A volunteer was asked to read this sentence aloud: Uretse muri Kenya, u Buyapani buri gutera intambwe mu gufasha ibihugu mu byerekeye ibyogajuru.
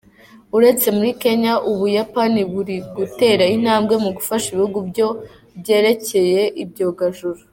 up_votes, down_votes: 0, 2